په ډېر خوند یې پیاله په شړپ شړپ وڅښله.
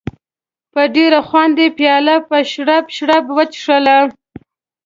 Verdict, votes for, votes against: accepted, 3, 0